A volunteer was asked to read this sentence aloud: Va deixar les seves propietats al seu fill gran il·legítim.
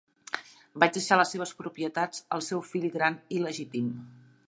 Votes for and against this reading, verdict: 0, 2, rejected